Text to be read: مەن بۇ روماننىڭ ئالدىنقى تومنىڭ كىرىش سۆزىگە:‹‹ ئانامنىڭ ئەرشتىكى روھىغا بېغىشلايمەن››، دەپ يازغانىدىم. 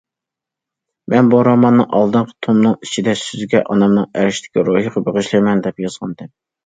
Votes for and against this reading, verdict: 0, 2, rejected